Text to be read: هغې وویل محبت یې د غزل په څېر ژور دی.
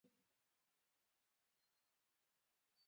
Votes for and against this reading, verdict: 1, 2, rejected